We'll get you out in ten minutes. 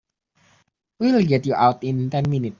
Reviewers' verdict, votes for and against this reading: rejected, 1, 2